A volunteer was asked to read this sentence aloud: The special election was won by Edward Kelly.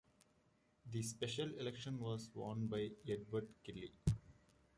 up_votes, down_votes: 2, 0